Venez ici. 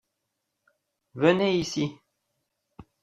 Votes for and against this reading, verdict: 2, 0, accepted